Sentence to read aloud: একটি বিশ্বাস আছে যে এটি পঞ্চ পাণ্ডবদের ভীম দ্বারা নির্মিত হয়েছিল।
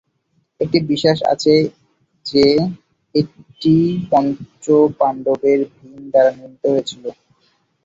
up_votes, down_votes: 1, 2